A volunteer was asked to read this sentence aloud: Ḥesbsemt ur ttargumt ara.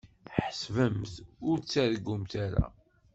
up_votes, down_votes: 1, 2